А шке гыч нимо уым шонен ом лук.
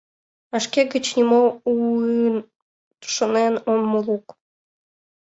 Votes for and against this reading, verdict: 2, 4, rejected